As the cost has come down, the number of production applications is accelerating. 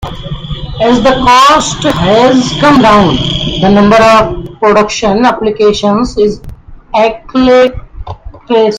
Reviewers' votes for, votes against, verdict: 0, 2, rejected